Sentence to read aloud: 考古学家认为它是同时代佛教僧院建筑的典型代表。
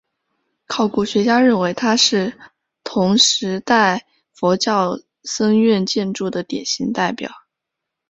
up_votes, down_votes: 3, 0